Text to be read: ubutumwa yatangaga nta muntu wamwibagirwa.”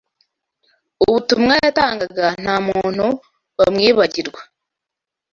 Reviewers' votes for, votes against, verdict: 2, 0, accepted